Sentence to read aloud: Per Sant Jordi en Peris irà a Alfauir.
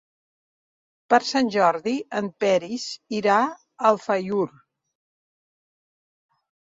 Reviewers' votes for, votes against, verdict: 1, 2, rejected